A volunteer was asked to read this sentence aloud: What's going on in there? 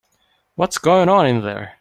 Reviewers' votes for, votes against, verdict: 2, 0, accepted